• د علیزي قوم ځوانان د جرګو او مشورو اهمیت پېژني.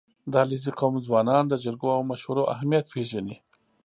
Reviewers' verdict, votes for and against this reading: accepted, 3, 0